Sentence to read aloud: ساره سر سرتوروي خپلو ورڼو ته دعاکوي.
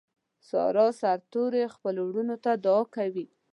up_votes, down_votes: 2, 0